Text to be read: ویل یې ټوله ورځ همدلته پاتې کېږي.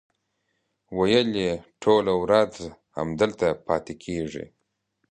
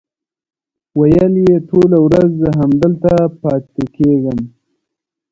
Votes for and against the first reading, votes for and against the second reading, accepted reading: 2, 0, 1, 2, first